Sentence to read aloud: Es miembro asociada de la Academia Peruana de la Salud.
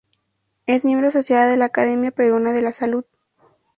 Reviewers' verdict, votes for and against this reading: accepted, 2, 0